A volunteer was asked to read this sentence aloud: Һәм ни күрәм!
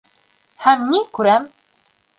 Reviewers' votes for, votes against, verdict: 1, 2, rejected